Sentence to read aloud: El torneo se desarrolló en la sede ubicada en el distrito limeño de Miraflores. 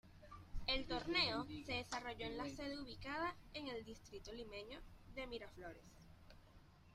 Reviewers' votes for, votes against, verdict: 2, 0, accepted